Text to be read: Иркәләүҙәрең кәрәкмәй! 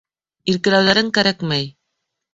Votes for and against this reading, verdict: 0, 2, rejected